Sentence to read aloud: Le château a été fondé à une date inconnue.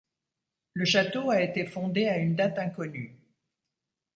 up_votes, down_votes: 2, 1